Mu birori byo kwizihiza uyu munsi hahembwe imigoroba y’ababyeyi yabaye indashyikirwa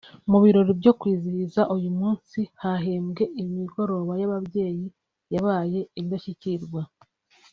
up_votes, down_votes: 2, 0